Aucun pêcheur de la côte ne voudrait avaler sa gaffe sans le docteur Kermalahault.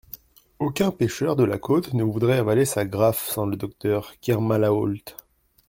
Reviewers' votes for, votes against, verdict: 1, 2, rejected